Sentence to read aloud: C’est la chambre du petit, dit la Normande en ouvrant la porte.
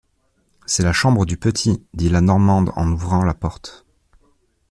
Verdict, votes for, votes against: accepted, 2, 0